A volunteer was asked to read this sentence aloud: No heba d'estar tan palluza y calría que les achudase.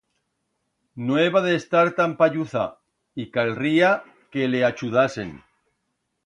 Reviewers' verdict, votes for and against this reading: rejected, 1, 2